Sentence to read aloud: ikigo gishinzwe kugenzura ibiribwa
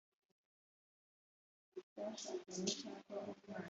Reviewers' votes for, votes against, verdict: 0, 2, rejected